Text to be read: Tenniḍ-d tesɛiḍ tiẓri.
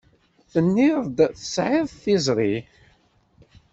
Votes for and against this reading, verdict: 2, 0, accepted